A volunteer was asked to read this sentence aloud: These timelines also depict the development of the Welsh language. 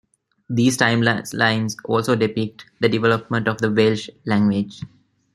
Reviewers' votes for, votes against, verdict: 0, 2, rejected